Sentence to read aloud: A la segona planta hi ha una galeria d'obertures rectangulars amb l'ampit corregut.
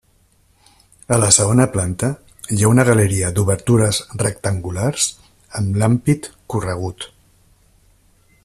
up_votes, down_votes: 1, 2